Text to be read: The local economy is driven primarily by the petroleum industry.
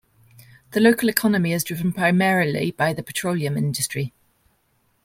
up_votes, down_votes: 1, 2